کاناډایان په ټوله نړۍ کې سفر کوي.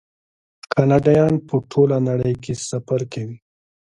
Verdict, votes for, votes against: accepted, 3, 0